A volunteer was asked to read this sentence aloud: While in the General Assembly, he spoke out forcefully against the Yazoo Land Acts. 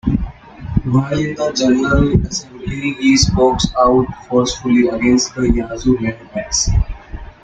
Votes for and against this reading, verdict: 0, 2, rejected